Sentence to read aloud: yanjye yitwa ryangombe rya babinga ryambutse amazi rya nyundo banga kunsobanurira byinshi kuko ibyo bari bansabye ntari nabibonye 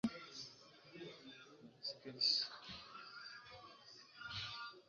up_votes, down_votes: 0, 2